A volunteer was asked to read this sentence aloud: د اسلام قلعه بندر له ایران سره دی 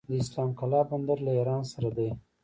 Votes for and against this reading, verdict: 1, 2, rejected